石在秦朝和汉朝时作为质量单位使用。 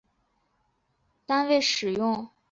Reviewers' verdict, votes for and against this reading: rejected, 0, 4